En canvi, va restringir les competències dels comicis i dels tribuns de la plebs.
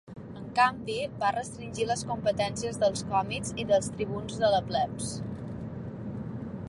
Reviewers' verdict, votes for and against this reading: rejected, 1, 2